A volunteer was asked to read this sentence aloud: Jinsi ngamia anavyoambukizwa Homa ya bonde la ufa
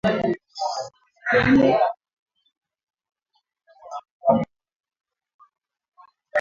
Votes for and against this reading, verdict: 0, 8, rejected